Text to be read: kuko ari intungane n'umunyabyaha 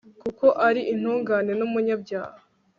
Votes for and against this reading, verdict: 2, 0, accepted